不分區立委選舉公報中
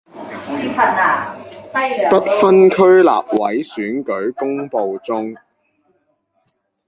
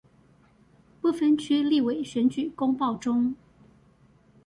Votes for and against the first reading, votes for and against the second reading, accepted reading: 0, 2, 2, 0, second